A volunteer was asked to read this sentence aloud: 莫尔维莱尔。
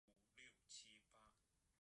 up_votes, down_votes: 1, 2